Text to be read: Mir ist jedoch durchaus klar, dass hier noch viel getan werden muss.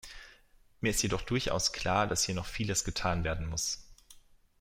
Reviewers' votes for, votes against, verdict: 0, 2, rejected